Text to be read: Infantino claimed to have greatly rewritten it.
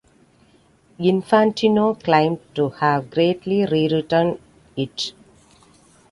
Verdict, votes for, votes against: accepted, 2, 0